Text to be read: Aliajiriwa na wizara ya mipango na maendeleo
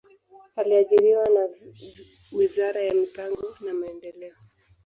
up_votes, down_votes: 2, 0